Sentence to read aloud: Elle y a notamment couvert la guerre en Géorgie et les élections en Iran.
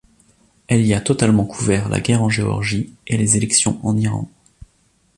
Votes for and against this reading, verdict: 0, 2, rejected